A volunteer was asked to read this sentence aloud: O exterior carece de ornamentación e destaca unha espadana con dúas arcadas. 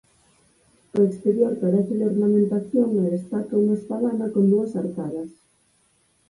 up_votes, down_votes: 4, 0